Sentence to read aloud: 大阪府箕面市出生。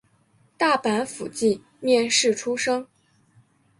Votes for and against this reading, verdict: 2, 1, accepted